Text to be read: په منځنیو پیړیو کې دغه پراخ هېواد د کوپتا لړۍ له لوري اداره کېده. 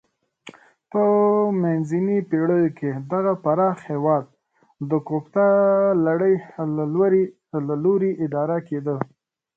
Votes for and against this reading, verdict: 0, 2, rejected